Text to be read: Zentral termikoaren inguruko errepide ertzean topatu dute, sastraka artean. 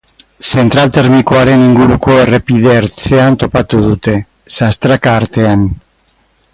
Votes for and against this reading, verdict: 2, 2, rejected